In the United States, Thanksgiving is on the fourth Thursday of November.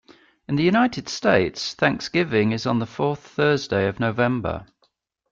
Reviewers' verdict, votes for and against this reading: accepted, 2, 0